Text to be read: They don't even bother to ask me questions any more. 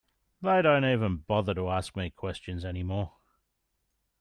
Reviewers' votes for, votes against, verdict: 2, 0, accepted